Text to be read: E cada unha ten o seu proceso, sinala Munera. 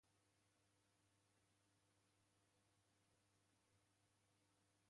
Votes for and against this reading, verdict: 0, 2, rejected